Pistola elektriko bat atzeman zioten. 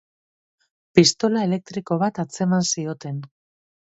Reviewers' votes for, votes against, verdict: 2, 0, accepted